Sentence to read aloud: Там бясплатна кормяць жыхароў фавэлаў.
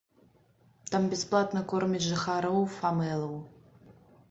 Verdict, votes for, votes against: accepted, 2, 1